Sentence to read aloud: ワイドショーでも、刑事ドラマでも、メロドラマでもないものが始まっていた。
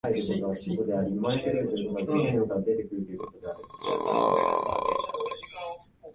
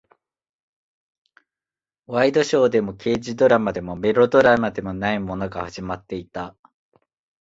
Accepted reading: second